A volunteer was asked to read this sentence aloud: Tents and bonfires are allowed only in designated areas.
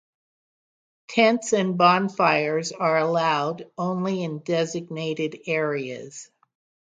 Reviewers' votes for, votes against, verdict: 6, 0, accepted